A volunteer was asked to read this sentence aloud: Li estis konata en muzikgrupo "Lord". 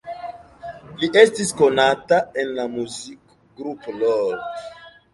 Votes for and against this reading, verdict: 0, 2, rejected